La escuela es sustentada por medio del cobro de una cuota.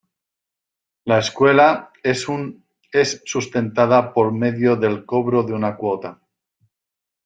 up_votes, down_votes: 0, 2